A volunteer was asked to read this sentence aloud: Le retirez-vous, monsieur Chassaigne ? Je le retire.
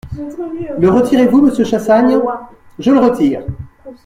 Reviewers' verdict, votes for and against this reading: rejected, 0, 2